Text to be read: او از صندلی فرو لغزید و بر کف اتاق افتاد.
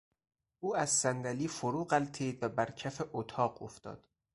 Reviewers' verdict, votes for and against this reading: rejected, 0, 4